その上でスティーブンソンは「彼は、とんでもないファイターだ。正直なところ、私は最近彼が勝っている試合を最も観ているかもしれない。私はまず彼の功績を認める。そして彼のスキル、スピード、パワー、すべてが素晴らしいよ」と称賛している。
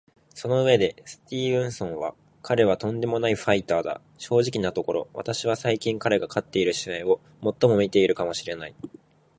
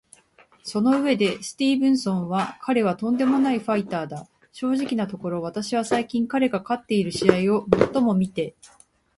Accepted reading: second